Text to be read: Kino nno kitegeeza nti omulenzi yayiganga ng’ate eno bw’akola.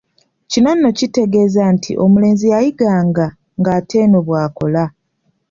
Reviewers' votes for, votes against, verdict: 2, 0, accepted